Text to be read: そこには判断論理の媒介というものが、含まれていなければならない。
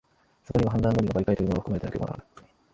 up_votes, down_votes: 0, 3